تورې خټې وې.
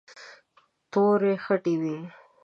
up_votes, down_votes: 2, 0